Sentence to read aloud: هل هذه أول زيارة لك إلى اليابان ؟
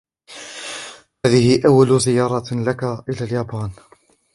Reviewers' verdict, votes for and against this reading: rejected, 1, 2